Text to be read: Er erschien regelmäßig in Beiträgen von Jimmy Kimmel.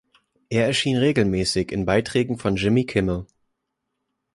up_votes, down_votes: 2, 0